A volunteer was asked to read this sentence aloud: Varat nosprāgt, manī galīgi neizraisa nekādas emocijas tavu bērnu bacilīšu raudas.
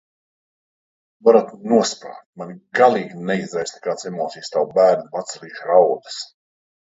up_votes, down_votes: 0, 2